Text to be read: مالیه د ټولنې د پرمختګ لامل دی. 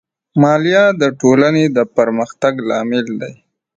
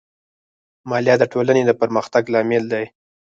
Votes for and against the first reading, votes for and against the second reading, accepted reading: 2, 1, 2, 4, first